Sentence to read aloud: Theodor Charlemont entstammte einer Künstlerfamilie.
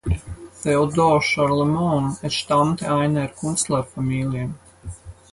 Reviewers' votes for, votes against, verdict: 0, 4, rejected